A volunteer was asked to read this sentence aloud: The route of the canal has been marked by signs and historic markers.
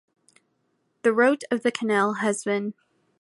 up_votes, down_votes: 0, 2